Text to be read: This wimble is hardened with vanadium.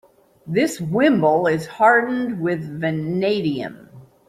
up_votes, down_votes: 2, 0